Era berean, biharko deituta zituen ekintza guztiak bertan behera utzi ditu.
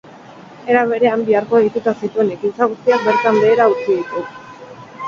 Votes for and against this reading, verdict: 4, 2, accepted